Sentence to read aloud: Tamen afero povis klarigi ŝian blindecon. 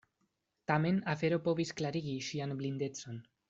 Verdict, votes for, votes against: accepted, 2, 0